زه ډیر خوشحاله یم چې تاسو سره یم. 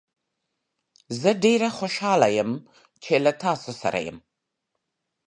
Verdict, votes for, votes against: rejected, 1, 2